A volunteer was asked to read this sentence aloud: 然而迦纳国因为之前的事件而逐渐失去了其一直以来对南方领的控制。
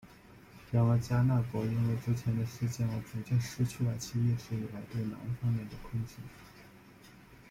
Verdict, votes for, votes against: rejected, 1, 2